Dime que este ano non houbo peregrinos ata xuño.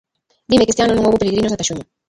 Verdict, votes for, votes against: rejected, 0, 2